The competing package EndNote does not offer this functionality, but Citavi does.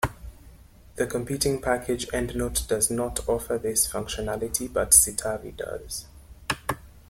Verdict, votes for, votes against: accepted, 2, 0